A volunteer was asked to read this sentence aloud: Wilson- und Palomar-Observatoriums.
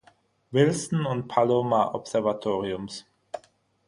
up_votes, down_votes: 6, 0